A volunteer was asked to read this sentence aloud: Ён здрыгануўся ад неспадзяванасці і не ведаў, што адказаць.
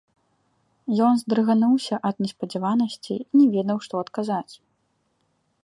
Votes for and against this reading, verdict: 1, 2, rejected